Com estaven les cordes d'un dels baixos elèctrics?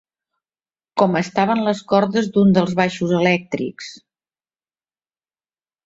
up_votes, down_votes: 0, 2